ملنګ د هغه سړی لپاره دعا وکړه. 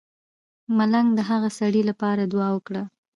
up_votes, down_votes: 1, 2